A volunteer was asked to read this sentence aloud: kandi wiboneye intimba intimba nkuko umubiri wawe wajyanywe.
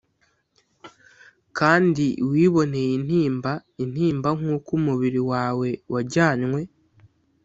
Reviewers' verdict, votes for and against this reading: accepted, 2, 0